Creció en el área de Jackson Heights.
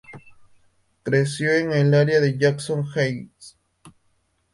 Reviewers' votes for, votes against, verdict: 4, 0, accepted